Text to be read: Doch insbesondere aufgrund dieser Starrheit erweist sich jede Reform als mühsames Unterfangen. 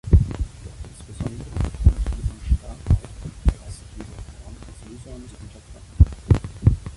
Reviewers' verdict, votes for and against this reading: rejected, 0, 2